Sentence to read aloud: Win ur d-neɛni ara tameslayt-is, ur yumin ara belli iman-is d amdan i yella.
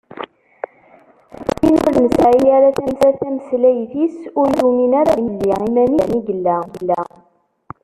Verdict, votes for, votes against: rejected, 0, 2